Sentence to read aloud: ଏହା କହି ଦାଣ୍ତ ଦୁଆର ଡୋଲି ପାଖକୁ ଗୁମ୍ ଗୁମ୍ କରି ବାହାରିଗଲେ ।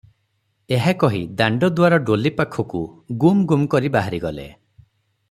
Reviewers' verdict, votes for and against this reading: accepted, 6, 0